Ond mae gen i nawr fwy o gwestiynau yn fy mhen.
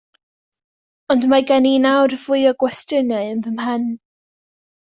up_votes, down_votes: 2, 0